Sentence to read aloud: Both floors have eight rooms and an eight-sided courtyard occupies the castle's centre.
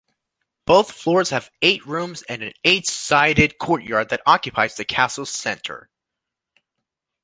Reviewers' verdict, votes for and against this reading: rejected, 1, 2